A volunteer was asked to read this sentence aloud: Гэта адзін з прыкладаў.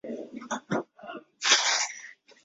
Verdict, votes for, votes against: rejected, 0, 2